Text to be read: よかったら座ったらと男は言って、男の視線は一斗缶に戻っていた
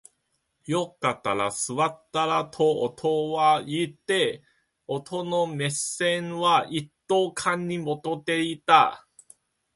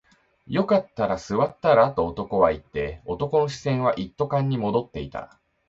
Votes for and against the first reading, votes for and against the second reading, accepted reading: 1, 3, 2, 0, second